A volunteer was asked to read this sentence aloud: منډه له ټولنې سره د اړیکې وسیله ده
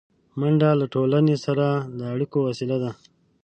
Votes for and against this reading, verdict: 1, 2, rejected